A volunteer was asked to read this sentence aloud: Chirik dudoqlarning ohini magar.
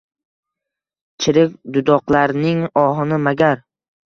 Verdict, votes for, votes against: rejected, 1, 2